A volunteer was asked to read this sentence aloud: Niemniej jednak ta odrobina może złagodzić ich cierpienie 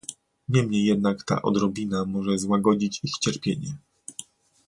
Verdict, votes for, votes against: accepted, 2, 0